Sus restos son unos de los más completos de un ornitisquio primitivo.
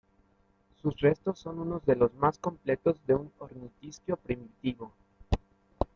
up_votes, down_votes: 1, 2